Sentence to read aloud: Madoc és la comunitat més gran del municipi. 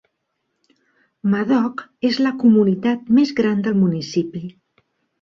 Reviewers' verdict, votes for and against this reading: accepted, 2, 0